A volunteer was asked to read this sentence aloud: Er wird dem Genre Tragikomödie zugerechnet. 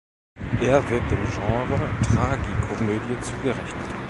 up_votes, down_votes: 2, 0